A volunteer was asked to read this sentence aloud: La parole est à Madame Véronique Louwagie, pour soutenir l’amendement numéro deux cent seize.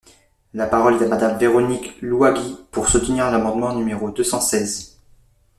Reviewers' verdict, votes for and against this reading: rejected, 1, 2